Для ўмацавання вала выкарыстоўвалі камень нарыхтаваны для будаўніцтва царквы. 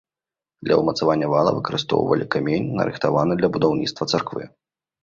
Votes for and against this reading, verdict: 1, 2, rejected